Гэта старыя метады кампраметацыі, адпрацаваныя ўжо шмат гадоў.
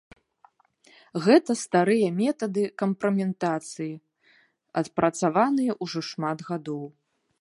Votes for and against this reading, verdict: 2, 0, accepted